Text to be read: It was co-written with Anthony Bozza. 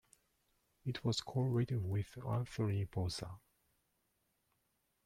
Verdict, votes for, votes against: accepted, 2, 0